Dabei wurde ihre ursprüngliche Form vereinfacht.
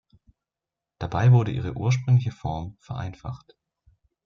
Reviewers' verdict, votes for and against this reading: accepted, 2, 0